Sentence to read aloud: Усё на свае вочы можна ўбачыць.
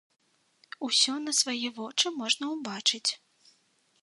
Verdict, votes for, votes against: accepted, 2, 0